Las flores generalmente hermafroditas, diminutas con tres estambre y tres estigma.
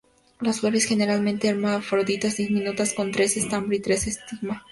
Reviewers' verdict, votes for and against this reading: rejected, 0, 2